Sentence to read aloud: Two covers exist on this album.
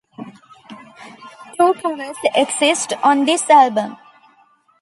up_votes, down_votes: 3, 0